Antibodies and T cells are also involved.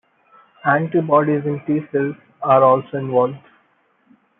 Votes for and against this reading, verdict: 2, 1, accepted